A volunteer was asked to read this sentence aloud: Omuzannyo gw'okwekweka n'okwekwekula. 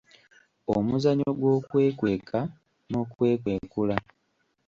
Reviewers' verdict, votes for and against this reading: rejected, 1, 2